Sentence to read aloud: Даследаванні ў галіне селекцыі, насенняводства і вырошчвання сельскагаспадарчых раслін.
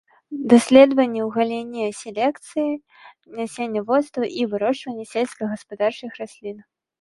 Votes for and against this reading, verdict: 1, 2, rejected